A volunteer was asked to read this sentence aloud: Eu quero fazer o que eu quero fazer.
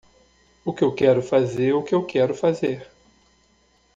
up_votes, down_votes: 1, 2